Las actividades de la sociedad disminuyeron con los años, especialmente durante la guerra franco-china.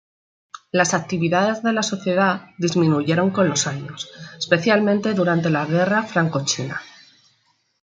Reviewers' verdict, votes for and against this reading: accepted, 2, 1